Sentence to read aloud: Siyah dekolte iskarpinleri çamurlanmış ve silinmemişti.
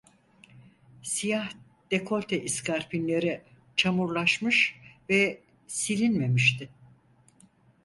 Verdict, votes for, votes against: rejected, 0, 4